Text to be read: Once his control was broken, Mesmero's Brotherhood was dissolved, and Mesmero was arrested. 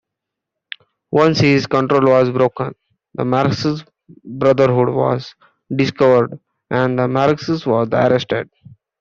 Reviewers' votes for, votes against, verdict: 0, 2, rejected